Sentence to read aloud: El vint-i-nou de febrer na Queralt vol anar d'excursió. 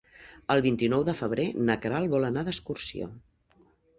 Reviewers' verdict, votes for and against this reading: accepted, 3, 0